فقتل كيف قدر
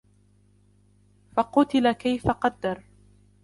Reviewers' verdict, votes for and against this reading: rejected, 0, 2